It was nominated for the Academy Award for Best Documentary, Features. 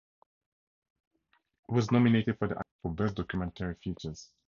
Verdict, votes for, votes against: rejected, 0, 2